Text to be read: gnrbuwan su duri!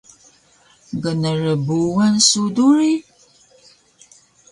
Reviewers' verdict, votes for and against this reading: rejected, 1, 2